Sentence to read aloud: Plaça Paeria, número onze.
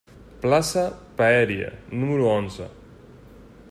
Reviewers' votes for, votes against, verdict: 0, 2, rejected